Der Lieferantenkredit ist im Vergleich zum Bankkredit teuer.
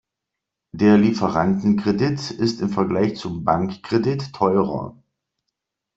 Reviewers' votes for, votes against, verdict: 0, 2, rejected